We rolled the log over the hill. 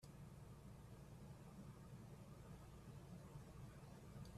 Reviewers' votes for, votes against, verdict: 0, 2, rejected